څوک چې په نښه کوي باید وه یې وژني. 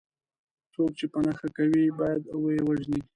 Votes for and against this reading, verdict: 0, 2, rejected